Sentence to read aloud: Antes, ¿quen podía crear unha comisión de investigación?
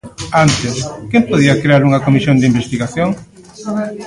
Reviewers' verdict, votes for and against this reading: rejected, 0, 2